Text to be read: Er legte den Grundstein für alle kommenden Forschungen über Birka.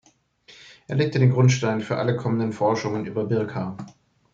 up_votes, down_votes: 2, 0